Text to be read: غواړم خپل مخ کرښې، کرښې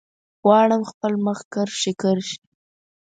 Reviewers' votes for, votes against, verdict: 4, 0, accepted